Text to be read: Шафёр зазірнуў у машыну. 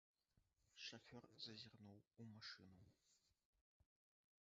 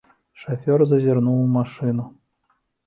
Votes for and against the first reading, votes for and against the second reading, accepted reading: 0, 2, 2, 0, second